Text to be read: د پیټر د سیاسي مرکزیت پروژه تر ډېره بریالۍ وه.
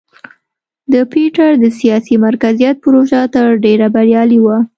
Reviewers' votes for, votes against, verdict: 2, 0, accepted